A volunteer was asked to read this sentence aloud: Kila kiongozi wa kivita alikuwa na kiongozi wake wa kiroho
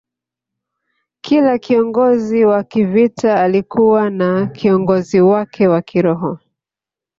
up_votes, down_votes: 6, 0